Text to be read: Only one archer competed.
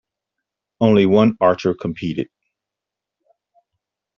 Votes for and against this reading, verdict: 2, 0, accepted